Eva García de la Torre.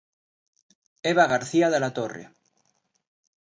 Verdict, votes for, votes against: accepted, 2, 0